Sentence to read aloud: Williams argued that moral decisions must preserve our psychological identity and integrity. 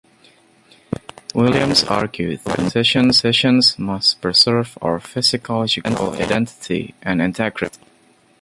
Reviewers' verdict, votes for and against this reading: rejected, 0, 2